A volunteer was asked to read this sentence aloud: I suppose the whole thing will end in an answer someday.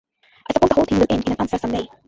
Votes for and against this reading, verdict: 0, 2, rejected